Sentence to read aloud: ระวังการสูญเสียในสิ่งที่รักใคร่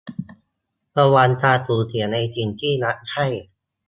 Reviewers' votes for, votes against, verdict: 2, 0, accepted